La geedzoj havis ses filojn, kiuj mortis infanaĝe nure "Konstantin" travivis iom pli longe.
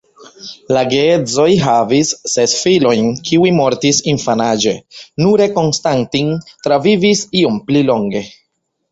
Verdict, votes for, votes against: accepted, 2, 1